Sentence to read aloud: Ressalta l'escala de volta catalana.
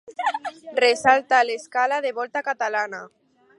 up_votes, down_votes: 4, 0